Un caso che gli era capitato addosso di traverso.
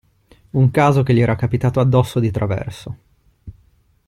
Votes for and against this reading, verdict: 2, 0, accepted